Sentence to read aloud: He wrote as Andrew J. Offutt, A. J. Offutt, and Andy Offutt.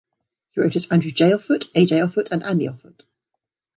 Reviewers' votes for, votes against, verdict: 1, 2, rejected